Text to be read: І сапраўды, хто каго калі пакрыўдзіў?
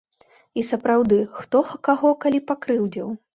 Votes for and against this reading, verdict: 2, 1, accepted